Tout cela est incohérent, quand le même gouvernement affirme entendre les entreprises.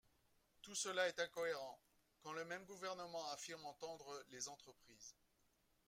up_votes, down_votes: 1, 2